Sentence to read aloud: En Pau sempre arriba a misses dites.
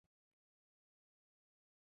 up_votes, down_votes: 0, 2